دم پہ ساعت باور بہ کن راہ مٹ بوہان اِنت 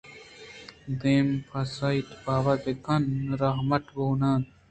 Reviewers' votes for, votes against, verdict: 2, 0, accepted